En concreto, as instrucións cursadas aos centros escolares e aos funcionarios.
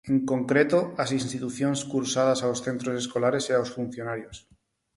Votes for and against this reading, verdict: 2, 2, rejected